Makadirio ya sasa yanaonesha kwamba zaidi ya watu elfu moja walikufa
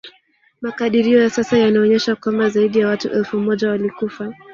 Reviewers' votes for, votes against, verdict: 1, 2, rejected